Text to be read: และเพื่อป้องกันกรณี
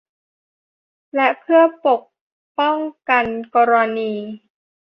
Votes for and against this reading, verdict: 0, 2, rejected